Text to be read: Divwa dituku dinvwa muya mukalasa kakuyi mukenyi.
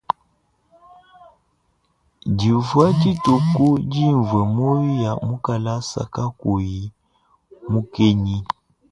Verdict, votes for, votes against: rejected, 1, 2